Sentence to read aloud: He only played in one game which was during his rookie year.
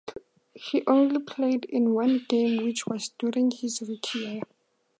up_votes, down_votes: 2, 0